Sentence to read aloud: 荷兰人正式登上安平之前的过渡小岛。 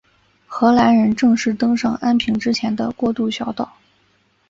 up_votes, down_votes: 2, 0